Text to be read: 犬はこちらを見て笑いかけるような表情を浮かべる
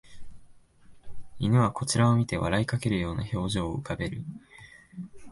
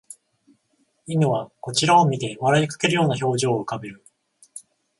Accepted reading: first